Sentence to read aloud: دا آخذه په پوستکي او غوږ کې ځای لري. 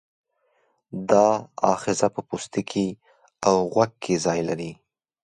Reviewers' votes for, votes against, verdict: 2, 0, accepted